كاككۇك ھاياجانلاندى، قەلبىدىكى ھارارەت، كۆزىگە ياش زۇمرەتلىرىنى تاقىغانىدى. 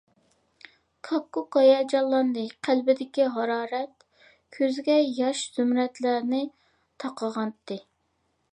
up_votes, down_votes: 1, 3